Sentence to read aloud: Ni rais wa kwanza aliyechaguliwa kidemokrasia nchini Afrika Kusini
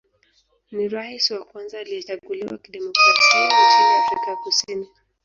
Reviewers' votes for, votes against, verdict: 2, 3, rejected